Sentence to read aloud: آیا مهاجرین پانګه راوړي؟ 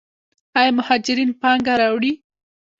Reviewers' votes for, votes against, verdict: 1, 2, rejected